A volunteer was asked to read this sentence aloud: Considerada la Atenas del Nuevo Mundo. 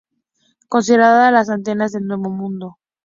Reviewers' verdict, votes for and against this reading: rejected, 0, 2